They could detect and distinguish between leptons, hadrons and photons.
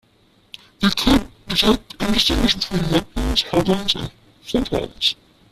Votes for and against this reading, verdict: 0, 2, rejected